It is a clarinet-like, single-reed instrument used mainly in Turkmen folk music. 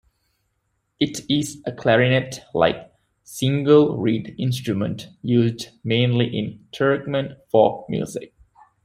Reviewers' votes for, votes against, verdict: 2, 1, accepted